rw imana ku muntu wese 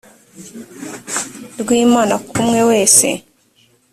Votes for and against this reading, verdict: 0, 2, rejected